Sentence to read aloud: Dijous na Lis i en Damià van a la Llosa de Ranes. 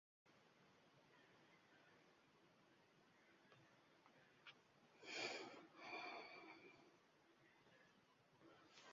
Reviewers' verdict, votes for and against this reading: rejected, 0, 3